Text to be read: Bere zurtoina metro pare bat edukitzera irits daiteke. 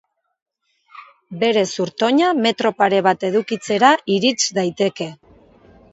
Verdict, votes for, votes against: accepted, 2, 0